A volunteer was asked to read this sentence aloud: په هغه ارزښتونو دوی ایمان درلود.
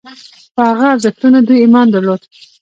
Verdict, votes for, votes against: accepted, 2, 0